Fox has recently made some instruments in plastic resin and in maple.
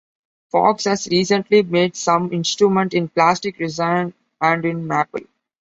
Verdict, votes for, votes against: accepted, 2, 0